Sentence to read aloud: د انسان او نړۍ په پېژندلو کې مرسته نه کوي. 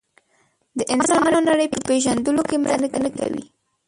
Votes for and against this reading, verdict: 0, 2, rejected